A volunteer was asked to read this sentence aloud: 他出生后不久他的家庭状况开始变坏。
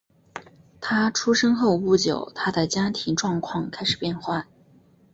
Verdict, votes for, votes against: accepted, 2, 0